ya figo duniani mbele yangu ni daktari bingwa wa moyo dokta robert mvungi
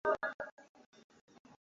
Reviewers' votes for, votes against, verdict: 0, 2, rejected